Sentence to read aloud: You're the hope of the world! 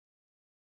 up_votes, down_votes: 0, 2